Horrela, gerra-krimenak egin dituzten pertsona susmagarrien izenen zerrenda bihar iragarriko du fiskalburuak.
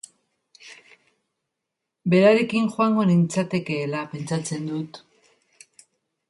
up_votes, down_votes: 0, 2